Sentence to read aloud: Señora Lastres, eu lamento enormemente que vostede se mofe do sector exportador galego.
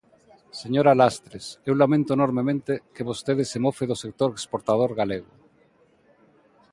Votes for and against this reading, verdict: 2, 0, accepted